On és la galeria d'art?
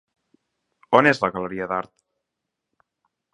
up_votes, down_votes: 3, 0